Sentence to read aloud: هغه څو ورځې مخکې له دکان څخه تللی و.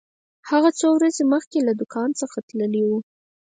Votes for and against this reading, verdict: 4, 0, accepted